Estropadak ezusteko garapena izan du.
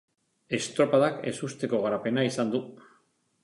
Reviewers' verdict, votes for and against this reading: accepted, 3, 0